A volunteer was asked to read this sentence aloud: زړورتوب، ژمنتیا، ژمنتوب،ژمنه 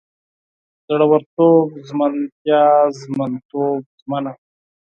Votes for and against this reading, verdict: 4, 0, accepted